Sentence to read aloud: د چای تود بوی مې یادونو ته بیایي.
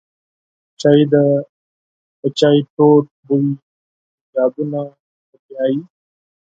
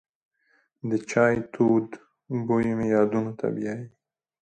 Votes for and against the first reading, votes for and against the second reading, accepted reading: 2, 4, 2, 0, second